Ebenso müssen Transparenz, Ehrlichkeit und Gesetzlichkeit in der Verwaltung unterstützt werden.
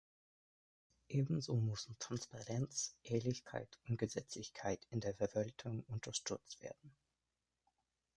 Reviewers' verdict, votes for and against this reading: rejected, 2, 3